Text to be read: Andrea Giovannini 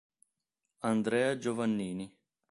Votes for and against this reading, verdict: 2, 0, accepted